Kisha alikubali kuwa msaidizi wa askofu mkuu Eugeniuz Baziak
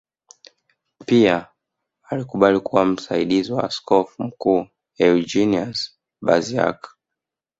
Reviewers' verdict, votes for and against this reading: rejected, 1, 2